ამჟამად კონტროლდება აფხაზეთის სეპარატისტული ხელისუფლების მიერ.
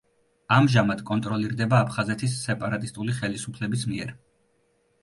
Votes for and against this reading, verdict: 1, 2, rejected